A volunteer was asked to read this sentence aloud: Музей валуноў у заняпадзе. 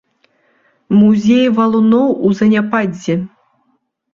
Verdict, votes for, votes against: rejected, 1, 2